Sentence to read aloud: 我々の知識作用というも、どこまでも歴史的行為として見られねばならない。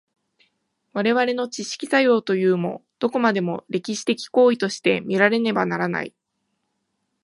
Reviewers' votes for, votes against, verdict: 2, 0, accepted